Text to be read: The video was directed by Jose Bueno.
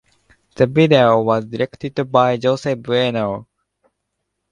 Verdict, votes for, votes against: accepted, 2, 0